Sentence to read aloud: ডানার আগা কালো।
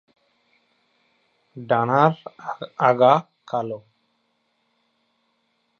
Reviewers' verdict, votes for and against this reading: rejected, 4, 8